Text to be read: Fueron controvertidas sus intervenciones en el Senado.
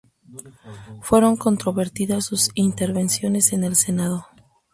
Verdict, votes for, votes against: accepted, 2, 0